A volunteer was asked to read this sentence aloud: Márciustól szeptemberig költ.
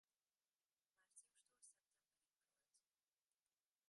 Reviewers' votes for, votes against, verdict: 0, 2, rejected